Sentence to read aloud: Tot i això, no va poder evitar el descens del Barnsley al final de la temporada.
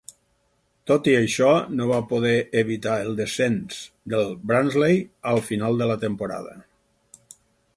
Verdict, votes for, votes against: accepted, 4, 0